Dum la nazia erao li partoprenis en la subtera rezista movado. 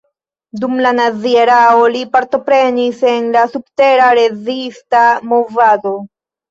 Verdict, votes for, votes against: accepted, 2, 1